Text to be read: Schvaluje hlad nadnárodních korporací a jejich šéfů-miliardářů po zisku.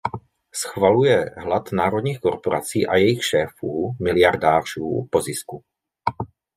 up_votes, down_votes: 0, 2